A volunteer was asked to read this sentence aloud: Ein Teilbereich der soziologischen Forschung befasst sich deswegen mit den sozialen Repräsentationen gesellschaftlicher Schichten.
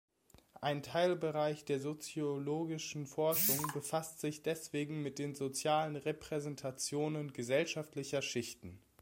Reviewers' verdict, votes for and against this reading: accepted, 2, 0